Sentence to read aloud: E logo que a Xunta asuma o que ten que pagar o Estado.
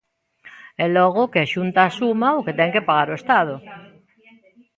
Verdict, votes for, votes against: rejected, 1, 2